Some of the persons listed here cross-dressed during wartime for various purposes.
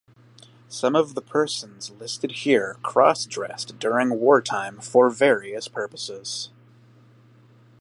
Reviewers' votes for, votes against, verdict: 2, 0, accepted